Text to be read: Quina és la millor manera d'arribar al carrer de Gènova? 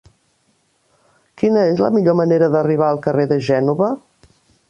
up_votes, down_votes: 3, 0